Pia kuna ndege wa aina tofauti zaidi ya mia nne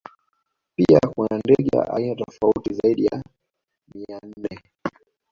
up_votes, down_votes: 2, 0